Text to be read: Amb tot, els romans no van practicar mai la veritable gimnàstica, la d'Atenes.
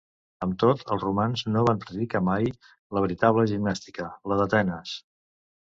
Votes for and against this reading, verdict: 0, 2, rejected